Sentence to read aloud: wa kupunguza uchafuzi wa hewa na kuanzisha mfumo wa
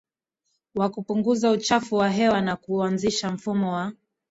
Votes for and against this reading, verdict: 0, 2, rejected